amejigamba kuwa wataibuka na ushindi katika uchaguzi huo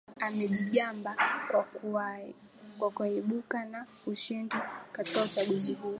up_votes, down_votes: 1, 2